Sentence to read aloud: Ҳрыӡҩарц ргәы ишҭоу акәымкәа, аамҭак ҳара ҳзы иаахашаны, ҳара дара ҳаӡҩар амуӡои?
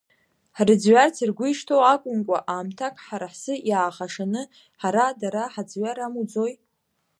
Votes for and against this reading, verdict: 1, 2, rejected